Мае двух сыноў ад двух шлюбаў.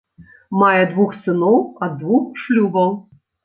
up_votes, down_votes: 2, 0